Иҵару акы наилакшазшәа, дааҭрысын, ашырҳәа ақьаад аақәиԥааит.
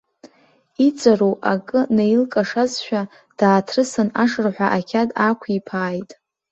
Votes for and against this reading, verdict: 1, 2, rejected